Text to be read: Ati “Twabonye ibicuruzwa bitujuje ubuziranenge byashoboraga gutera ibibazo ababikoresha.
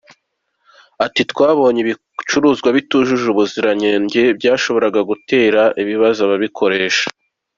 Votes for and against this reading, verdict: 1, 2, rejected